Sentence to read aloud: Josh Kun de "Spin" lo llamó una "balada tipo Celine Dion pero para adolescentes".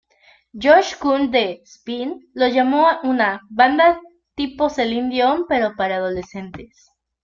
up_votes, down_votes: 0, 2